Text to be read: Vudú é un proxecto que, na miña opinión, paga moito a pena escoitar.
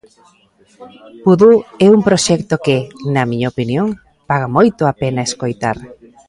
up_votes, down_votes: 0, 2